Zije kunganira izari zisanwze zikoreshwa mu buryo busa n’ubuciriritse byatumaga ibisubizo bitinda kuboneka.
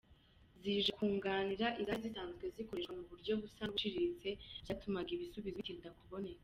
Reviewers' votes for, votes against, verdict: 0, 2, rejected